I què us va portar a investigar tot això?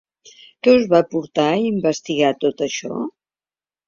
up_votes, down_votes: 0, 3